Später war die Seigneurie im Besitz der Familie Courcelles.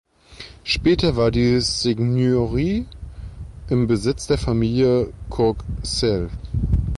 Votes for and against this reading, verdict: 1, 2, rejected